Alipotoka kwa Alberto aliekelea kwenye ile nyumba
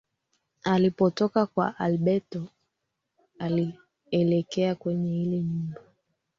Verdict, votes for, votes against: rejected, 0, 2